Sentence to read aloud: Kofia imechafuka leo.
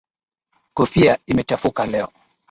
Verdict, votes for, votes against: accepted, 5, 3